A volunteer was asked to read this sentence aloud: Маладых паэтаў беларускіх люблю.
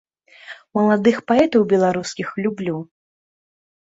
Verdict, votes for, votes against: accepted, 2, 0